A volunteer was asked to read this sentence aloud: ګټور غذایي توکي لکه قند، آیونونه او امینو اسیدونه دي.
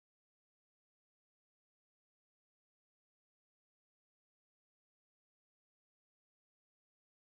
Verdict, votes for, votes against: rejected, 0, 2